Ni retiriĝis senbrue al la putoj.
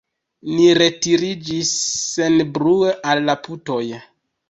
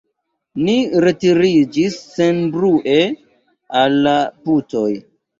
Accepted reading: second